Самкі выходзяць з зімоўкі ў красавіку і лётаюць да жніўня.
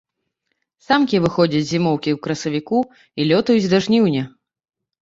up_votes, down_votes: 2, 0